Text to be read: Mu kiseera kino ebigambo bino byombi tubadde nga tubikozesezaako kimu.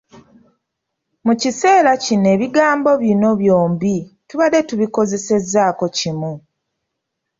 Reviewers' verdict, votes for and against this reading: rejected, 0, 2